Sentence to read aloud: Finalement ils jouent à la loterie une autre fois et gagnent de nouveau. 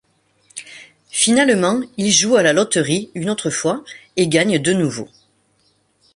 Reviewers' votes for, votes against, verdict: 2, 0, accepted